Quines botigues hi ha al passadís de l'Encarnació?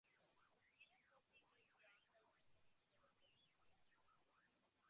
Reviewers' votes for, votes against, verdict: 0, 2, rejected